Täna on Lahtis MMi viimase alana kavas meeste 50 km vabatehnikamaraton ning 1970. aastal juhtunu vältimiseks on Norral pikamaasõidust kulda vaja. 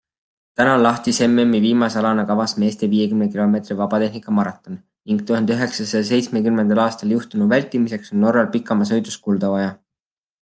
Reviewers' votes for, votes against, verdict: 0, 2, rejected